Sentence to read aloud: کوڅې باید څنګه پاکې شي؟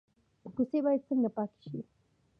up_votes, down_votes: 0, 2